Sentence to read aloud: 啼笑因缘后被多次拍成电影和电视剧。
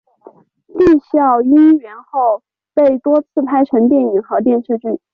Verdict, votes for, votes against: accepted, 3, 0